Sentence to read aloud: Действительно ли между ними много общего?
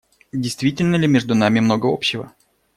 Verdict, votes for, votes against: rejected, 1, 2